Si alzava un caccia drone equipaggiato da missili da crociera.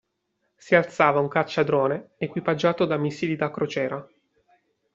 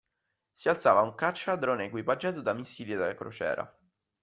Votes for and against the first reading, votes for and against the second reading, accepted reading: 2, 0, 1, 2, first